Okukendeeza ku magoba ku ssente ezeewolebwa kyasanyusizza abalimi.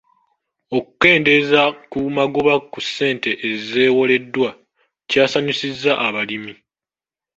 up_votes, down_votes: 0, 2